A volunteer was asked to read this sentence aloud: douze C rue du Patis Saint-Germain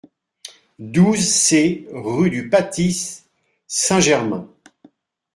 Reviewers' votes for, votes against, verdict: 2, 0, accepted